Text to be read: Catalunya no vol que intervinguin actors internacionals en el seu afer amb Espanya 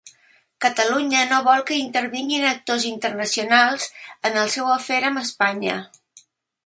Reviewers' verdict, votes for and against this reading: accepted, 3, 0